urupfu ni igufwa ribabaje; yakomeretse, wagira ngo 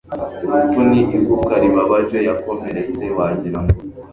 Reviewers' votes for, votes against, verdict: 2, 1, accepted